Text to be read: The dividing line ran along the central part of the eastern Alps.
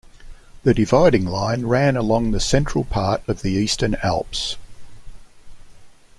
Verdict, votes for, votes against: accepted, 2, 0